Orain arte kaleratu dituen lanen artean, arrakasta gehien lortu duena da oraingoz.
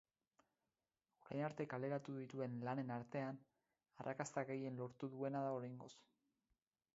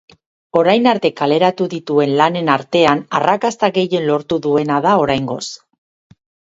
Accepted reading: second